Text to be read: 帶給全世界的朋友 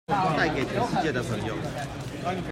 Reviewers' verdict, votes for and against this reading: rejected, 0, 2